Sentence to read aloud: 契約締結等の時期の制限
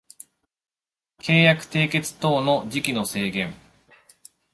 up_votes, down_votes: 2, 0